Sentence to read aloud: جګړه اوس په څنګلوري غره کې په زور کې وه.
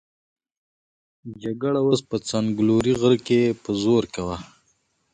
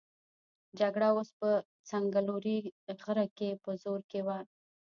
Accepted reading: first